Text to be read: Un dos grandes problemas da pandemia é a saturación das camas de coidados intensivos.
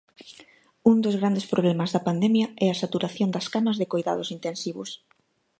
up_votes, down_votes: 2, 0